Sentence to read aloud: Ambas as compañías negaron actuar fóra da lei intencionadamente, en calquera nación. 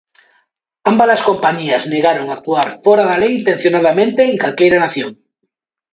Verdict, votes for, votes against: accepted, 2, 0